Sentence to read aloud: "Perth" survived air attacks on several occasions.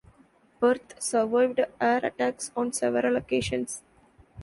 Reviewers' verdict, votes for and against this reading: rejected, 2, 3